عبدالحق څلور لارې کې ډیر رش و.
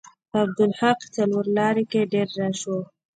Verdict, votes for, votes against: accepted, 2, 0